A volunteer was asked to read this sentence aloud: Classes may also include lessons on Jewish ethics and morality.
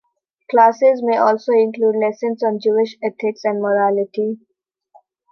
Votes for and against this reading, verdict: 2, 0, accepted